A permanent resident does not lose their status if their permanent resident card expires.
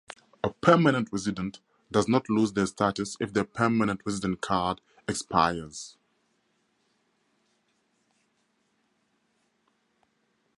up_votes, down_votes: 2, 0